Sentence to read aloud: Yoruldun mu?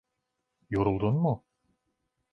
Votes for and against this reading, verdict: 2, 0, accepted